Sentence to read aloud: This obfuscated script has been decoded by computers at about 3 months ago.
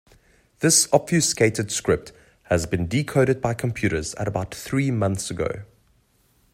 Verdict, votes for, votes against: rejected, 0, 2